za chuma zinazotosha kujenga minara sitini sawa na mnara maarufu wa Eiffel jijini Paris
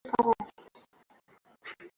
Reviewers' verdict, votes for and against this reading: rejected, 0, 2